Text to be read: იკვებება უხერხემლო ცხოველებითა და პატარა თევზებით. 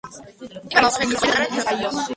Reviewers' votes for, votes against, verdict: 0, 2, rejected